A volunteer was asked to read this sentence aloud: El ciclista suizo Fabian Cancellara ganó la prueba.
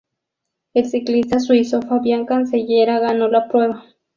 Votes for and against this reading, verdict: 0, 2, rejected